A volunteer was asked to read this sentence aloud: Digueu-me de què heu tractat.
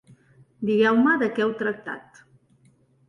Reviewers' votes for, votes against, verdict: 2, 0, accepted